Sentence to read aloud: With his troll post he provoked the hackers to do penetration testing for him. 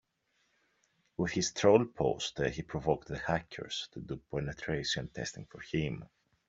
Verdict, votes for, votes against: accepted, 2, 0